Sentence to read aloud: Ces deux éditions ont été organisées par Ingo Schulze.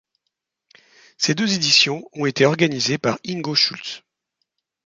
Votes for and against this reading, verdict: 1, 2, rejected